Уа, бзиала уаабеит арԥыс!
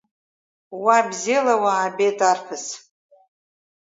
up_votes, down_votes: 4, 0